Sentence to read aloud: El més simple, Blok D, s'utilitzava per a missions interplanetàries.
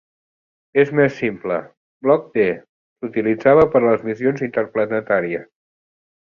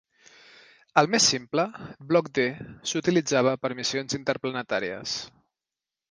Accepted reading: second